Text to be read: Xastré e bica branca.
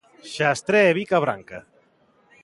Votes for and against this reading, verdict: 2, 0, accepted